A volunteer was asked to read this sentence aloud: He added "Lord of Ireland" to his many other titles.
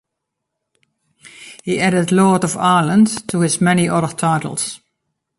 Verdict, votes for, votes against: accepted, 2, 0